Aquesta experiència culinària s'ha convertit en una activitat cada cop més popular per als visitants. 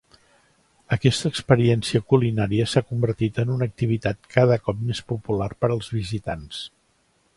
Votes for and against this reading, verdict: 4, 0, accepted